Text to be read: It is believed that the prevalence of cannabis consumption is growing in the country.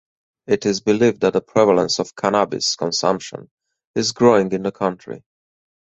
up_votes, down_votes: 4, 0